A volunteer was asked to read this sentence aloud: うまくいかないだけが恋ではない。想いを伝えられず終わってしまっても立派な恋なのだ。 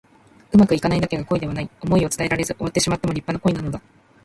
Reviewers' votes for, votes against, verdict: 1, 2, rejected